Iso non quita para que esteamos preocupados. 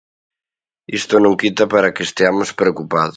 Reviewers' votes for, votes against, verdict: 1, 2, rejected